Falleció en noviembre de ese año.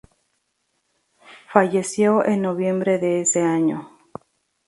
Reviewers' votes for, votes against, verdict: 2, 0, accepted